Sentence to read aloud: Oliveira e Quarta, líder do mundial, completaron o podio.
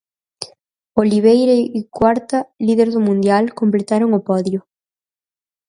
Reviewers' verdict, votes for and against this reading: rejected, 2, 4